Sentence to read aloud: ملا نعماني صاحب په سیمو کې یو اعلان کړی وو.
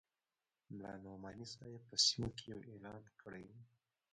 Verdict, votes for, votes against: rejected, 0, 2